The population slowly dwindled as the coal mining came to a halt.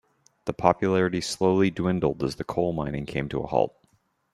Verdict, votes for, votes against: rejected, 0, 2